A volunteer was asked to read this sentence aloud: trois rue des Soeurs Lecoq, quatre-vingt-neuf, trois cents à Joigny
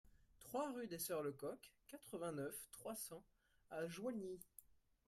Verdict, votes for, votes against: rejected, 1, 2